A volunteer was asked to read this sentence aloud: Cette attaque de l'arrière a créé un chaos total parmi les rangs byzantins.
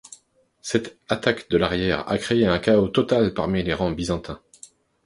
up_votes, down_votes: 2, 0